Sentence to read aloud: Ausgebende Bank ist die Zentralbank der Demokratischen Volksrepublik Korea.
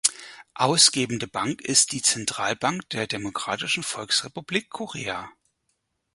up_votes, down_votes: 4, 0